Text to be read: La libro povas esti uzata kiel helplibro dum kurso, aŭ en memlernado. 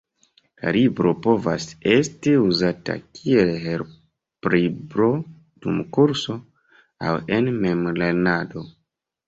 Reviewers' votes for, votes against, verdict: 1, 2, rejected